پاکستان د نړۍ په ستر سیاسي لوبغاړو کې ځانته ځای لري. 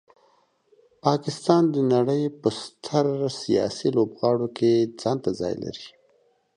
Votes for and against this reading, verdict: 2, 0, accepted